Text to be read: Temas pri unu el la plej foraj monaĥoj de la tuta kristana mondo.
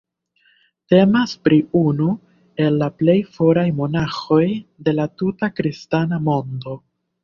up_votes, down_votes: 2, 1